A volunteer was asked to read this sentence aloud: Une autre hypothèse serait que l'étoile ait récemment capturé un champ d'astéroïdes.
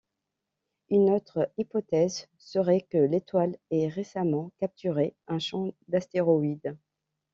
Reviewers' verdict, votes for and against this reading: accepted, 2, 0